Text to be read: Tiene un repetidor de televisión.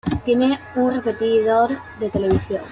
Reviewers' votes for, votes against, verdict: 2, 0, accepted